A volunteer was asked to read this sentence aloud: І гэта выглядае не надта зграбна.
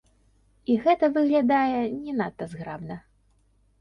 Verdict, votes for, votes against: accepted, 2, 0